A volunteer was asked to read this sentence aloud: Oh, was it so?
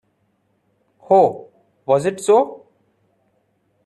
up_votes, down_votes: 2, 1